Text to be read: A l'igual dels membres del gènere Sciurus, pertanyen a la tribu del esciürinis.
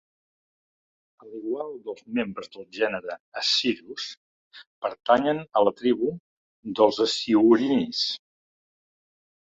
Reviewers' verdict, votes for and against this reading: rejected, 0, 2